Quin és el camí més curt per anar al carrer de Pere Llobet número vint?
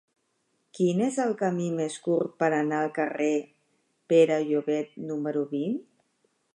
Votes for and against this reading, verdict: 1, 2, rejected